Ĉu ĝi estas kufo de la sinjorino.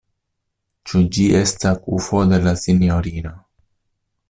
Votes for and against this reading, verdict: 2, 1, accepted